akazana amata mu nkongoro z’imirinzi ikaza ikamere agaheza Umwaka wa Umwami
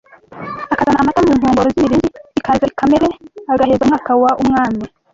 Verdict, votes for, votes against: rejected, 0, 2